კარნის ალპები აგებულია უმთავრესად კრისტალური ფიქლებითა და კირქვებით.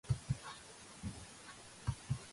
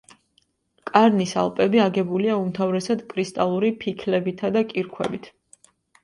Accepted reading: second